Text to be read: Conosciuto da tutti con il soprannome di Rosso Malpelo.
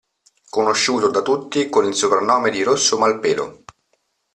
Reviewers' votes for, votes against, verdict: 2, 0, accepted